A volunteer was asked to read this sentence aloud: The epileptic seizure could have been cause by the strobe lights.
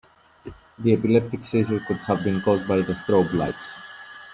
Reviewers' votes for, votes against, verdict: 2, 1, accepted